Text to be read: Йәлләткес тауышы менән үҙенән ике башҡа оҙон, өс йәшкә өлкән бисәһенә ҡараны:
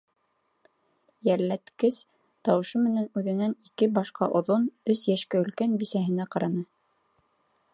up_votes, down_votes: 3, 0